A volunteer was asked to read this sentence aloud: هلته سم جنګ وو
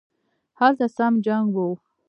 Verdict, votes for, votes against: rejected, 0, 2